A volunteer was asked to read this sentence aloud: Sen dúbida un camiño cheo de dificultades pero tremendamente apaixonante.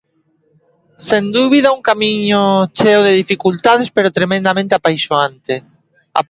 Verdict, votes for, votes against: rejected, 1, 2